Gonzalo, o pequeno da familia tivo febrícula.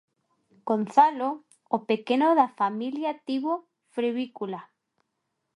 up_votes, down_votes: 0, 2